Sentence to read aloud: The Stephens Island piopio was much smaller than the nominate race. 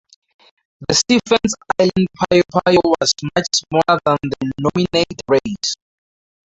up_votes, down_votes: 0, 4